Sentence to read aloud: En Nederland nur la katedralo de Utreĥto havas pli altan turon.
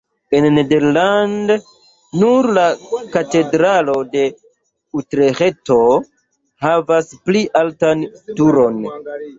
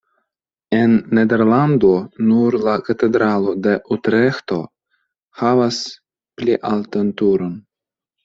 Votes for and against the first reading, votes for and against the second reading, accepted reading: 0, 2, 2, 0, second